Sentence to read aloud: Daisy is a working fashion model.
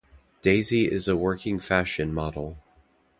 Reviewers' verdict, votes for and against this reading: accepted, 2, 0